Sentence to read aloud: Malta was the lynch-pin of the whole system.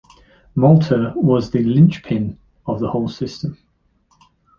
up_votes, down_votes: 2, 0